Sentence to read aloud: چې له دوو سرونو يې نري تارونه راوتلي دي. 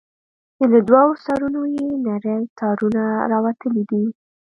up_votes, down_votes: 2, 0